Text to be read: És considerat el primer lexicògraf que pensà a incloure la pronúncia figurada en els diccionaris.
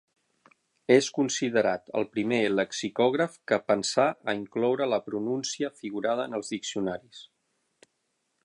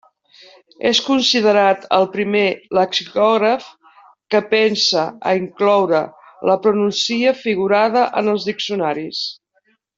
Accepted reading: first